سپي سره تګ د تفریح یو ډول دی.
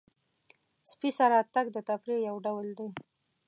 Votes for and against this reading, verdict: 2, 0, accepted